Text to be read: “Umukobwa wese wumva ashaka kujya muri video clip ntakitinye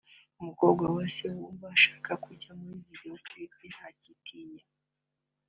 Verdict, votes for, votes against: accepted, 2, 0